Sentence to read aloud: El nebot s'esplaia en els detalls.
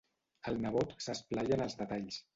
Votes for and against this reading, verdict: 0, 2, rejected